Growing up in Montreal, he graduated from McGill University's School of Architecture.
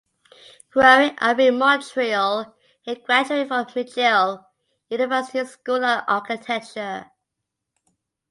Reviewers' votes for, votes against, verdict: 0, 4, rejected